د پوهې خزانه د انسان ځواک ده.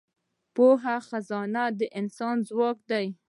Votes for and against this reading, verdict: 1, 3, rejected